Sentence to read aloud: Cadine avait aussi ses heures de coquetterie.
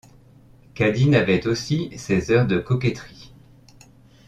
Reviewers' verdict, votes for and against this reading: accepted, 2, 0